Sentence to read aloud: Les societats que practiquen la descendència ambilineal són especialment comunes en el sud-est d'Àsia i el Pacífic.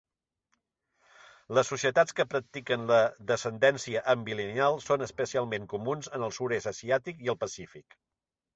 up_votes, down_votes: 0, 2